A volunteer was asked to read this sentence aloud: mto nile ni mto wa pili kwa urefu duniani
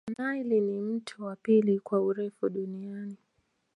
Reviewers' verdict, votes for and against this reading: rejected, 1, 2